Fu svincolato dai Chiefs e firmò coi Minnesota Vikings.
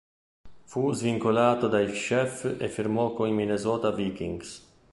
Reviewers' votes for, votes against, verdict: 0, 2, rejected